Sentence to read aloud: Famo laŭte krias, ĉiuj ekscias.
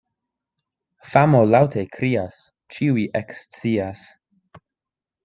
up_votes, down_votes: 2, 0